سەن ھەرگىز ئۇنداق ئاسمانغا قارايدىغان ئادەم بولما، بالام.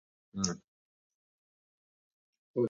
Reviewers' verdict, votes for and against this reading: rejected, 0, 2